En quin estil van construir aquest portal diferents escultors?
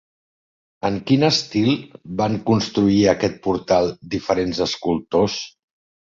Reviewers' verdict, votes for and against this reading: accepted, 3, 1